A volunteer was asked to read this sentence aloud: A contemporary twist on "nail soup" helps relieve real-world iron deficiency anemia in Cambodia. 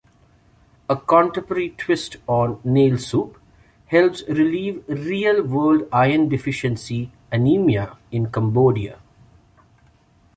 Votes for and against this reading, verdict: 1, 2, rejected